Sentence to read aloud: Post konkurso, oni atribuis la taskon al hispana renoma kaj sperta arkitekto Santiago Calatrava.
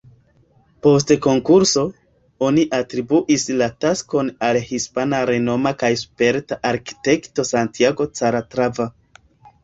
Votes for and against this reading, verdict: 2, 1, accepted